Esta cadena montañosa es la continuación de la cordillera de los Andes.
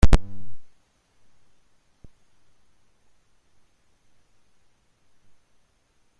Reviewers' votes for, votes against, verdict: 0, 2, rejected